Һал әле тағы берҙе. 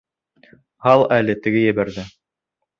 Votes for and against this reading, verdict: 0, 2, rejected